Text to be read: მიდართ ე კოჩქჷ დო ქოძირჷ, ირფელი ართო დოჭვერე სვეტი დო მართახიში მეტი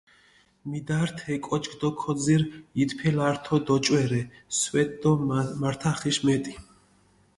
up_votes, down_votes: 0, 2